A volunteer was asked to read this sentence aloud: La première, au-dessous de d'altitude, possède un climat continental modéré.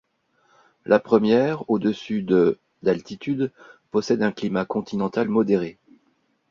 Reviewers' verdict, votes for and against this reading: accepted, 2, 0